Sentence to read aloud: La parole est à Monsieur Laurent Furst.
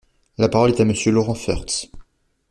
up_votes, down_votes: 1, 2